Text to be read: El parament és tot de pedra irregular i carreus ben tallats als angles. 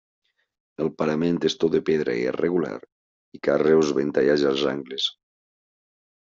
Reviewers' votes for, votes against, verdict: 0, 2, rejected